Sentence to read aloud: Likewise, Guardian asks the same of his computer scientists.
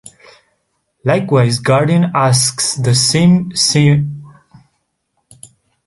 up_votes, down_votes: 1, 2